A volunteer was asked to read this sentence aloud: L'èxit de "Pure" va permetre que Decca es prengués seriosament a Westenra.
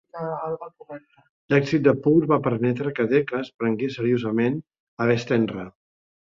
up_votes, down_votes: 0, 2